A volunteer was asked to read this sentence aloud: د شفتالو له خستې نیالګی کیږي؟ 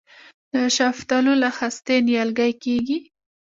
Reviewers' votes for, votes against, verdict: 3, 0, accepted